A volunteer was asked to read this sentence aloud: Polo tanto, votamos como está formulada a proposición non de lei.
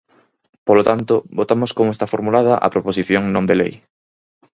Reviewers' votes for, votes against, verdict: 4, 0, accepted